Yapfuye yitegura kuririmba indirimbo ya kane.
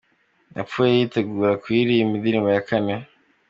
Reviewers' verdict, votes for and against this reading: accepted, 2, 0